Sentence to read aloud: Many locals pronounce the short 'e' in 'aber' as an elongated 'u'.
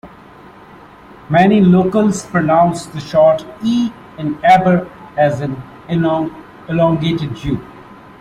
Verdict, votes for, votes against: rejected, 0, 2